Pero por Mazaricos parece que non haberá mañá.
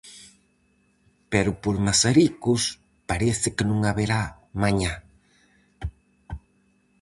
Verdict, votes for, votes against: accepted, 4, 0